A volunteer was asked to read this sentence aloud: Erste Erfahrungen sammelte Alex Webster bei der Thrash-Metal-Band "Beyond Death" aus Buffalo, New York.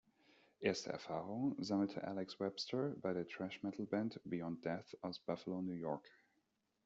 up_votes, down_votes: 2, 0